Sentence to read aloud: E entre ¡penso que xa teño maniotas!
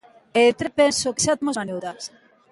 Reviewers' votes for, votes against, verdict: 0, 2, rejected